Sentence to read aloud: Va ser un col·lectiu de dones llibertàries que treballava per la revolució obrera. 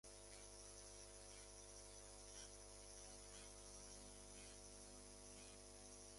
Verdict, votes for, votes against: rejected, 0, 2